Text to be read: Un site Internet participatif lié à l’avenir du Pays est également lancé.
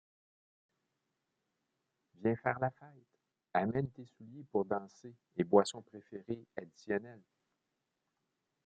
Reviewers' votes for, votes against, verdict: 0, 2, rejected